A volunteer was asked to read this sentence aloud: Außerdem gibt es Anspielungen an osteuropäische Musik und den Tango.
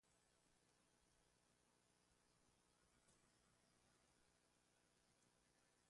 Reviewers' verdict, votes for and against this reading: rejected, 0, 2